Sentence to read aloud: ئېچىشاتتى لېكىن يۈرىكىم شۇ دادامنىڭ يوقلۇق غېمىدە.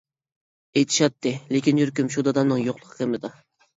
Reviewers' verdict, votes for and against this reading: rejected, 0, 2